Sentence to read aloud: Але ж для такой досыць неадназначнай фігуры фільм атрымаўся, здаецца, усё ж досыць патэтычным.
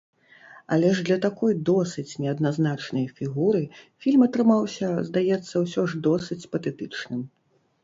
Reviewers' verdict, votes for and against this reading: accepted, 2, 0